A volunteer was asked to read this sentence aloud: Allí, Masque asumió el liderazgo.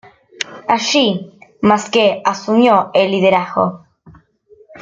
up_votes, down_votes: 2, 0